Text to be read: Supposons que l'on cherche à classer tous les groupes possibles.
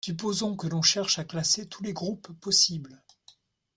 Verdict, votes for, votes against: accepted, 2, 0